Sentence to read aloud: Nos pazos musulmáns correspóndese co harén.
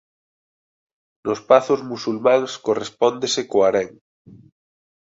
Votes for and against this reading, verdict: 2, 0, accepted